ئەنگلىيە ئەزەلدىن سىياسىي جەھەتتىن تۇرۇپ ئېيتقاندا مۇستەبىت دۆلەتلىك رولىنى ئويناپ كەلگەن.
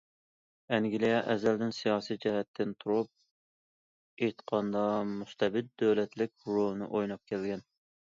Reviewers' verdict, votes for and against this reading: accepted, 2, 0